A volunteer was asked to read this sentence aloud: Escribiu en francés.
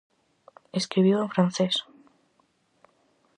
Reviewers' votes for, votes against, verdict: 4, 0, accepted